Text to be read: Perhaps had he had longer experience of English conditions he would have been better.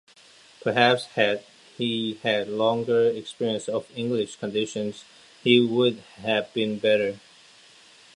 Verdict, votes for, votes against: accepted, 2, 0